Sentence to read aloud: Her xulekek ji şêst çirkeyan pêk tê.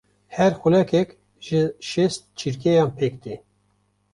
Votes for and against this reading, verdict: 2, 0, accepted